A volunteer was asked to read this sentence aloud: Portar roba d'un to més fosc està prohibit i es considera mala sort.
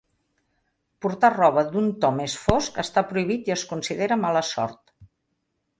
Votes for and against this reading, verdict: 3, 0, accepted